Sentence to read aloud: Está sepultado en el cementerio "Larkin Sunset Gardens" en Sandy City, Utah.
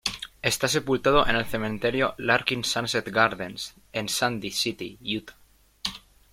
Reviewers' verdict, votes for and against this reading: accepted, 2, 1